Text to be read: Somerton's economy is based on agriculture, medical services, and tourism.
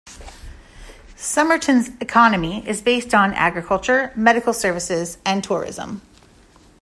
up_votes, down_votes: 2, 0